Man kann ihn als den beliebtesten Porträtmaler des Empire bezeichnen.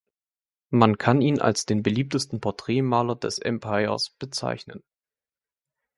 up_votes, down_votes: 1, 2